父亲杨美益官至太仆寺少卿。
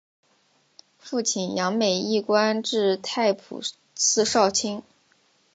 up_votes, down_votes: 2, 0